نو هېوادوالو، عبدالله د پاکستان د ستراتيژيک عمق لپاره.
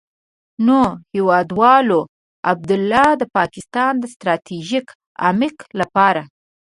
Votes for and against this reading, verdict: 0, 2, rejected